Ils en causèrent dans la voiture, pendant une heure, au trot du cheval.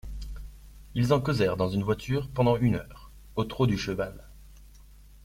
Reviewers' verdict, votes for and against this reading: rejected, 0, 2